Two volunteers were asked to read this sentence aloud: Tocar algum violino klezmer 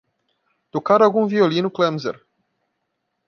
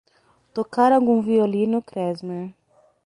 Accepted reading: second